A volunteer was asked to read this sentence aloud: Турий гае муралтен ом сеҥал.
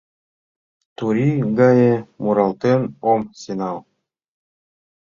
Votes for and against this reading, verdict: 2, 0, accepted